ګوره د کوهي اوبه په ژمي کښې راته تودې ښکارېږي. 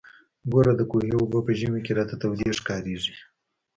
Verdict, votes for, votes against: rejected, 1, 2